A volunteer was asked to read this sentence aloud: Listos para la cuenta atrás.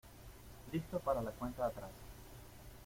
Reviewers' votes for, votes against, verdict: 2, 0, accepted